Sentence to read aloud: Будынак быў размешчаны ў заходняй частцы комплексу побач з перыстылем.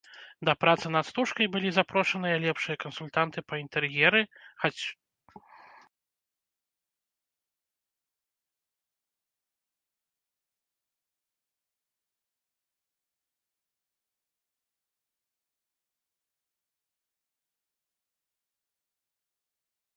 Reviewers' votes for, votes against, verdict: 0, 2, rejected